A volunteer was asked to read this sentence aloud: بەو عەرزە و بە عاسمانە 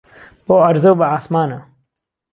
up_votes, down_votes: 2, 0